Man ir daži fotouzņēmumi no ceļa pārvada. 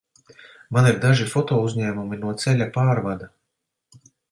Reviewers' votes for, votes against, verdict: 2, 0, accepted